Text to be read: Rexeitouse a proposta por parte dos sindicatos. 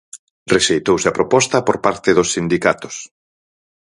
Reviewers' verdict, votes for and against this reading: accepted, 4, 0